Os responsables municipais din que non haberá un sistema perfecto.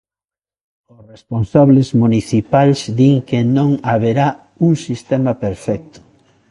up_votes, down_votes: 2, 0